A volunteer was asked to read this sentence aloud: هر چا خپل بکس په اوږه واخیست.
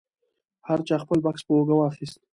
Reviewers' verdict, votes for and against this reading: accepted, 2, 0